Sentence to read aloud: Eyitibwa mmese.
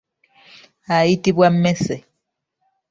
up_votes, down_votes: 1, 2